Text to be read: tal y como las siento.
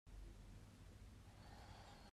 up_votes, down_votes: 0, 2